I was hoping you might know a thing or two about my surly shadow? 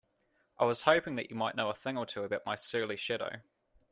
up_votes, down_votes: 2, 1